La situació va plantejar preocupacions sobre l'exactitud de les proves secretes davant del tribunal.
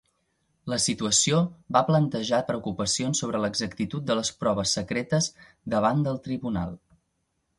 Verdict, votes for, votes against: accepted, 2, 0